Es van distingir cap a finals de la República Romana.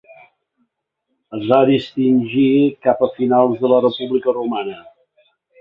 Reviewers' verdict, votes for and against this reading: rejected, 0, 2